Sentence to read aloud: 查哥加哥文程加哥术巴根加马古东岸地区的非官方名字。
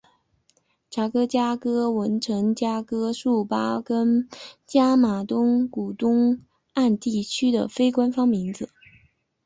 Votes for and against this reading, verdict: 1, 2, rejected